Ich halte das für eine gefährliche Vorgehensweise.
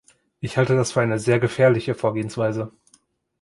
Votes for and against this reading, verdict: 2, 3, rejected